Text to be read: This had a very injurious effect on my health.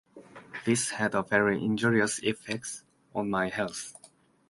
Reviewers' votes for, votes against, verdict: 1, 2, rejected